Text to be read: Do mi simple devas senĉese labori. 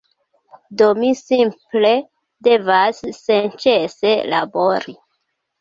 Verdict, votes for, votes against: accepted, 2, 1